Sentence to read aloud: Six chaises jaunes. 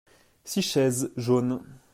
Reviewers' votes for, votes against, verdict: 2, 0, accepted